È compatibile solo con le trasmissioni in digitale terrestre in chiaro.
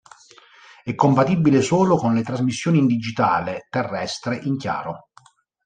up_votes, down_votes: 3, 0